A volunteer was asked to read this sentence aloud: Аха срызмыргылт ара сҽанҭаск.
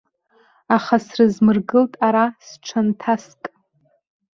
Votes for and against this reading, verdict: 1, 2, rejected